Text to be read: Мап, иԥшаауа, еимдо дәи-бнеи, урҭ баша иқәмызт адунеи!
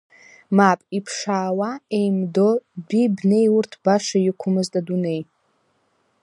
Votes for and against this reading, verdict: 1, 2, rejected